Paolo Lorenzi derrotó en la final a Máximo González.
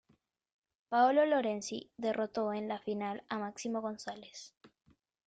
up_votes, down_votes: 1, 2